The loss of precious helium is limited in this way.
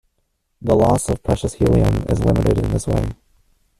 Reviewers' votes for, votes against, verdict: 0, 2, rejected